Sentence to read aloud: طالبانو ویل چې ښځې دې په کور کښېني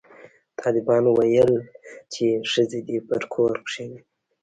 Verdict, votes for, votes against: rejected, 1, 2